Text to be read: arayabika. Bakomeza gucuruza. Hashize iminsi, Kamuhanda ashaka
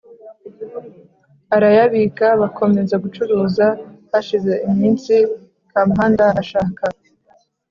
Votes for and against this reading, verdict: 2, 0, accepted